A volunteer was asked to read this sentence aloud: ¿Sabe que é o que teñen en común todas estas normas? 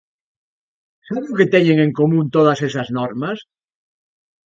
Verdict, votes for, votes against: rejected, 0, 2